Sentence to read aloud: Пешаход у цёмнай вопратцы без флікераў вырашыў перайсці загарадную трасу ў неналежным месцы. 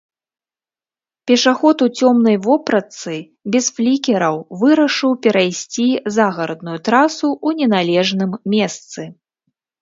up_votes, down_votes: 1, 2